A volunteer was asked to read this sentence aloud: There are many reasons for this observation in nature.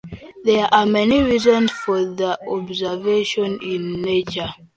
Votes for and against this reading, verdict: 1, 3, rejected